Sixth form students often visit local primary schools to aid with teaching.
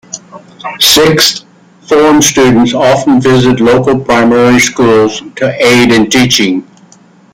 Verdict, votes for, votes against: rejected, 0, 2